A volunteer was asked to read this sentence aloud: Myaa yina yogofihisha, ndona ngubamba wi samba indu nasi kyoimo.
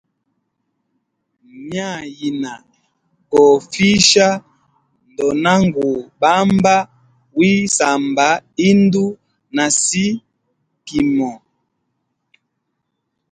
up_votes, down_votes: 0, 2